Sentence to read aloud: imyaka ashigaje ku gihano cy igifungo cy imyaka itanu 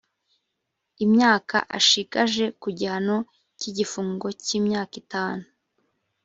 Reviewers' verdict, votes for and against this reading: rejected, 0, 2